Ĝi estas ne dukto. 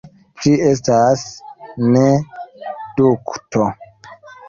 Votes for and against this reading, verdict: 1, 2, rejected